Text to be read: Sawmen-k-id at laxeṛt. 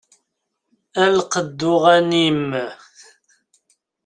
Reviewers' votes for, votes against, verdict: 0, 2, rejected